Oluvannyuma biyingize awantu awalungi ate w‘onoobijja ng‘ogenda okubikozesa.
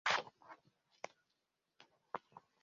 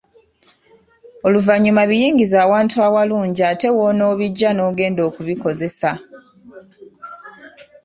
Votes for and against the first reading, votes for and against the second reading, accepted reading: 0, 2, 2, 0, second